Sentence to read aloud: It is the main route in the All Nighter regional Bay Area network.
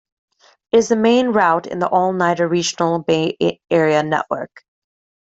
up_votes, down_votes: 0, 2